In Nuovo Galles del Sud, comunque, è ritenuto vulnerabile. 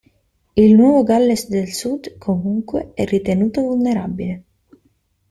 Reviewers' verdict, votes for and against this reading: rejected, 0, 2